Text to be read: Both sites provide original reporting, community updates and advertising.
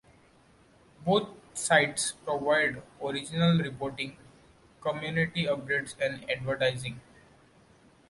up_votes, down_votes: 2, 0